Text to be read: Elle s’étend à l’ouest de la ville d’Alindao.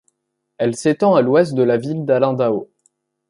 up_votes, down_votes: 2, 0